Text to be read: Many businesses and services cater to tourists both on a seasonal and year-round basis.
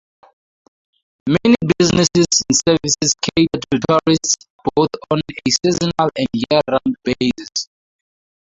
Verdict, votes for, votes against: rejected, 2, 4